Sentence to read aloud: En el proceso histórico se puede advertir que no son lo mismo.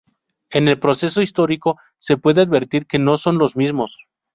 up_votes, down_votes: 2, 2